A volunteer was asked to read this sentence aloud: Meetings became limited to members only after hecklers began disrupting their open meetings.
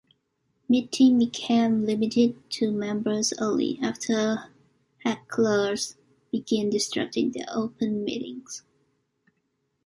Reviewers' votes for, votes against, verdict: 0, 2, rejected